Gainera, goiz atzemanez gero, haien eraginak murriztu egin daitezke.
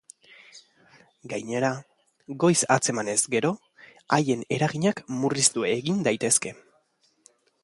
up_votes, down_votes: 2, 0